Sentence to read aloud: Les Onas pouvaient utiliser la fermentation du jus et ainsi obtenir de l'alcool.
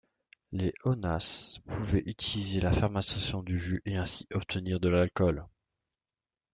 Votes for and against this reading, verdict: 0, 2, rejected